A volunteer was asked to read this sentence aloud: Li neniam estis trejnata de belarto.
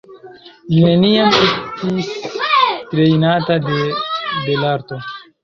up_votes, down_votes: 1, 2